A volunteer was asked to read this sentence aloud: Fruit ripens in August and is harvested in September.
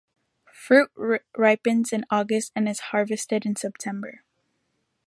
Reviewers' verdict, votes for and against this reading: rejected, 0, 2